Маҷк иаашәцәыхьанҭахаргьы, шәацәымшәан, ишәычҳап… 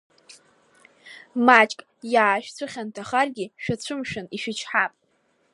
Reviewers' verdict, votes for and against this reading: accepted, 2, 1